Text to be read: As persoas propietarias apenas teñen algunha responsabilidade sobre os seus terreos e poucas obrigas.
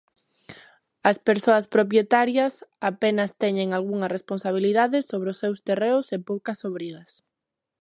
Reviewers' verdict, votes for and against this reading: accepted, 2, 0